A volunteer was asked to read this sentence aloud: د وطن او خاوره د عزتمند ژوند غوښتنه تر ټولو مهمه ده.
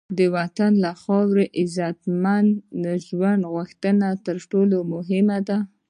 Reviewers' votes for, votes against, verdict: 1, 3, rejected